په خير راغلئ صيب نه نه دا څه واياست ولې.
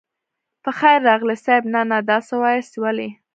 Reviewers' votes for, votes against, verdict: 1, 2, rejected